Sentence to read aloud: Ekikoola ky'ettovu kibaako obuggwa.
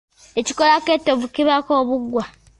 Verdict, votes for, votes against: rejected, 0, 2